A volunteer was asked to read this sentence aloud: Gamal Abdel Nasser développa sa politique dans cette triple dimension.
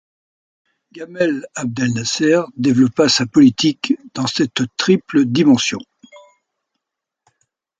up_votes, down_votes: 2, 3